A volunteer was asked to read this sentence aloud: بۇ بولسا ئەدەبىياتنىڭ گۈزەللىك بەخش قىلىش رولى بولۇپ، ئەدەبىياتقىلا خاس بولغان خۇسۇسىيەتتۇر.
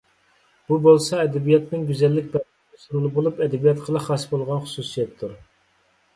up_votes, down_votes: 0, 2